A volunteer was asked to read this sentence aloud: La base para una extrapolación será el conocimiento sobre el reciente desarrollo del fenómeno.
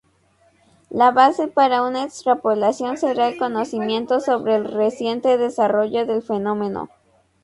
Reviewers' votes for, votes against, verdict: 2, 0, accepted